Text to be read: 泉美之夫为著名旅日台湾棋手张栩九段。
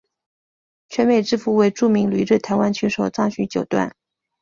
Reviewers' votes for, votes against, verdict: 2, 0, accepted